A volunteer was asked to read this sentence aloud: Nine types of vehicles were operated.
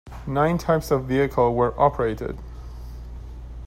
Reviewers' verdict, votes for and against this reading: rejected, 0, 2